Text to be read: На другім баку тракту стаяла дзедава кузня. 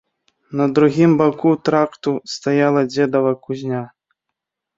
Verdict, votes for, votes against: rejected, 0, 3